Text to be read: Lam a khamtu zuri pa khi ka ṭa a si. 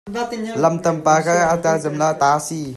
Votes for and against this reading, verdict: 0, 2, rejected